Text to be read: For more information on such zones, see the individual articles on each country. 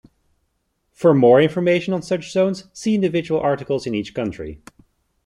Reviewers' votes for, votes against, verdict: 1, 2, rejected